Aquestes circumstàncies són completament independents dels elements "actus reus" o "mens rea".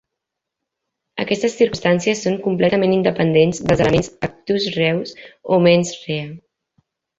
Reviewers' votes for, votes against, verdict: 1, 2, rejected